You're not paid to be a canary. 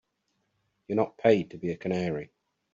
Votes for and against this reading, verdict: 2, 0, accepted